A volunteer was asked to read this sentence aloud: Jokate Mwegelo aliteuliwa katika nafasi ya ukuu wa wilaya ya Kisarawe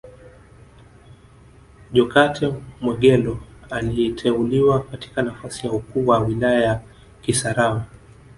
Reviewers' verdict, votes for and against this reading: rejected, 1, 2